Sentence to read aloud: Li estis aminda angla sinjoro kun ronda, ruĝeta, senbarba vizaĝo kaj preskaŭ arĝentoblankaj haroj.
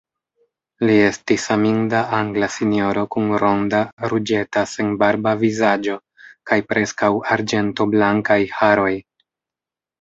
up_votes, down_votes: 0, 2